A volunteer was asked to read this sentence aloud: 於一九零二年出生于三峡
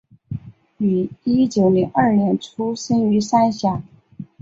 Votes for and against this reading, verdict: 2, 0, accepted